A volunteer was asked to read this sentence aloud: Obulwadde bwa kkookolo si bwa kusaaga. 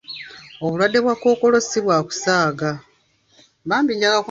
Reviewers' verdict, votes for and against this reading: rejected, 1, 2